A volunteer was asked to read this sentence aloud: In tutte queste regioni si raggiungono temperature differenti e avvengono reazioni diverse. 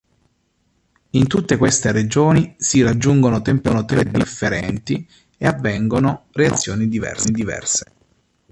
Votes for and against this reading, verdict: 0, 2, rejected